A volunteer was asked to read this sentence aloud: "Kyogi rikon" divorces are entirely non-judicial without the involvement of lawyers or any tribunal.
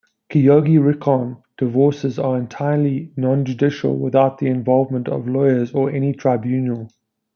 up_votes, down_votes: 2, 0